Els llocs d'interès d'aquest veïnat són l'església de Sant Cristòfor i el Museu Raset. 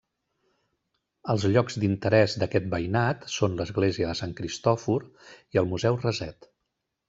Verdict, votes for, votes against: accepted, 2, 1